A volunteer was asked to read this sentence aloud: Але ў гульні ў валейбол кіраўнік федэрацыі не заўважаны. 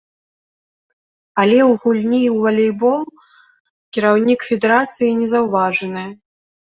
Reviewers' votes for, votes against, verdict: 2, 0, accepted